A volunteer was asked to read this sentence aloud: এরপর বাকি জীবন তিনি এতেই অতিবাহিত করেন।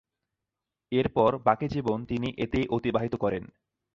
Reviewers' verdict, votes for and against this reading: accepted, 2, 0